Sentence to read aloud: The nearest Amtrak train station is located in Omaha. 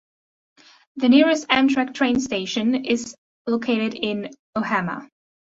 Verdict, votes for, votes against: rejected, 0, 2